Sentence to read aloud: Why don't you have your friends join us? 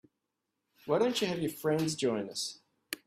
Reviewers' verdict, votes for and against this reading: accepted, 2, 0